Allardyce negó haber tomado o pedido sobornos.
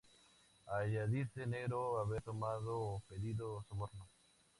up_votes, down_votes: 0, 4